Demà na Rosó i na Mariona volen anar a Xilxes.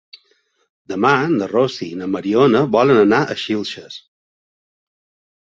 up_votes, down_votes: 0, 2